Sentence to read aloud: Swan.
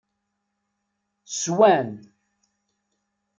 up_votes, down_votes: 2, 0